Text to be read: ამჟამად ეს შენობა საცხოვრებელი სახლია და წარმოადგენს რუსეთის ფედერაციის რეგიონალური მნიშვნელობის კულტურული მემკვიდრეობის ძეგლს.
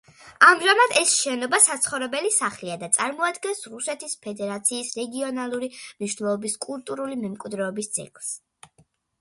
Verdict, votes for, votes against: accepted, 2, 1